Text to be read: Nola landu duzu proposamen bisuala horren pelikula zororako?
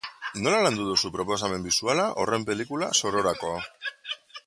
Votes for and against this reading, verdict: 2, 1, accepted